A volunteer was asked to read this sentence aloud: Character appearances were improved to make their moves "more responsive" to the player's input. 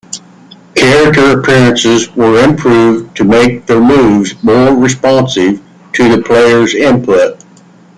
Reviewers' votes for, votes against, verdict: 2, 1, accepted